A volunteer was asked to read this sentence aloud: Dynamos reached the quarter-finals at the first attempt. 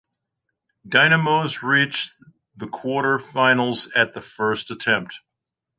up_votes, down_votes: 2, 0